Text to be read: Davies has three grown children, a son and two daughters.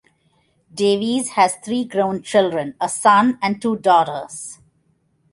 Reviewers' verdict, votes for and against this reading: accepted, 2, 0